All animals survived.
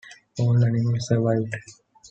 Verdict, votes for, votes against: accepted, 2, 0